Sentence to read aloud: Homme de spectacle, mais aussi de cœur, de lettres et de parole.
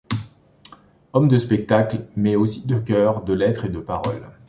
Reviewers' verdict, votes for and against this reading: accepted, 2, 0